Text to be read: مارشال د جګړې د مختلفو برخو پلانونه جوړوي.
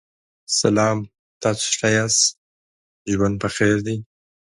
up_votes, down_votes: 1, 2